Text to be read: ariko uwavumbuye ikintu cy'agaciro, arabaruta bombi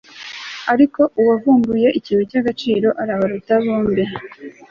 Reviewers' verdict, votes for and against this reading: accepted, 3, 0